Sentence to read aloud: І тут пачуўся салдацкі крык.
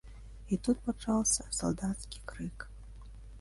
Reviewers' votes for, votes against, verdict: 2, 3, rejected